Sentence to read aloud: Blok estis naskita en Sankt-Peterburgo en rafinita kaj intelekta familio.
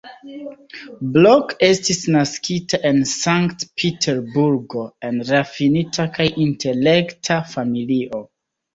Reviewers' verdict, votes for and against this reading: rejected, 1, 2